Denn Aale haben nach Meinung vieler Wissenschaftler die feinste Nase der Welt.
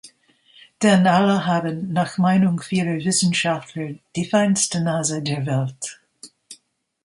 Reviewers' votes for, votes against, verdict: 1, 2, rejected